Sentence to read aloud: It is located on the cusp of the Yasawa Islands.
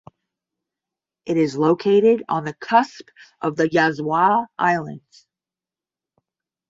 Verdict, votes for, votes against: rejected, 5, 10